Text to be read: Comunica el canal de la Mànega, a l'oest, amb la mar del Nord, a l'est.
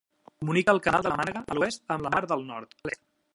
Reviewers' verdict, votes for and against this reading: rejected, 1, 2